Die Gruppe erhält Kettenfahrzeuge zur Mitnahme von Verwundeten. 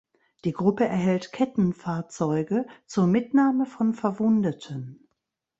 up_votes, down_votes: 2, 0